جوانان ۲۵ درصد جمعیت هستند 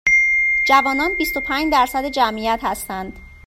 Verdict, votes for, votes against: rejected, 0, 2